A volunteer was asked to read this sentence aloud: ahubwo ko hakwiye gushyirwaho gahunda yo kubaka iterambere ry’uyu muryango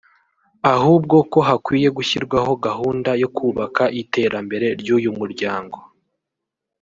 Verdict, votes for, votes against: rejected, 1, 2